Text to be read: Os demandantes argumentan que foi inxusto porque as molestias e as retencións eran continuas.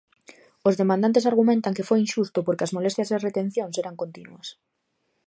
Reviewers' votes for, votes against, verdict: 2, 0, accepted